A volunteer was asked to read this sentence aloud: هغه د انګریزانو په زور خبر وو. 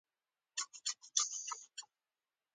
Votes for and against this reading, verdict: 2, 0, accepted